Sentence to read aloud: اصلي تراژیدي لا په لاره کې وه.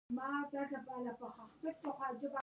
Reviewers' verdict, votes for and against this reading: rejected, 1, 2